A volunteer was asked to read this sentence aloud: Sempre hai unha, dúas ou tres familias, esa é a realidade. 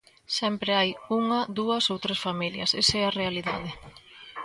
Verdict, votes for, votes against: accepted, 2, 0